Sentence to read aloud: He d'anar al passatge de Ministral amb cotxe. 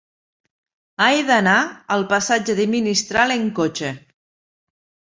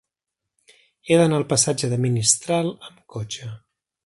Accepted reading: second